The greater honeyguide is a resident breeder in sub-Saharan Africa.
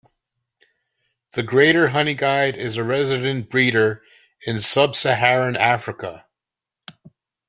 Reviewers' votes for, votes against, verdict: 3, 0, accepted